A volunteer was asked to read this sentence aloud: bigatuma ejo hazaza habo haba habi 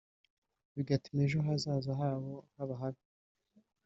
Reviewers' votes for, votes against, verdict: 2, 0, accepted